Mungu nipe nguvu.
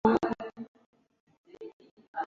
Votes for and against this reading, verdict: 0, 2, rejected